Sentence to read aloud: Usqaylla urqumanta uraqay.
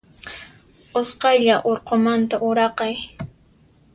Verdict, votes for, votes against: accepted, 2, 0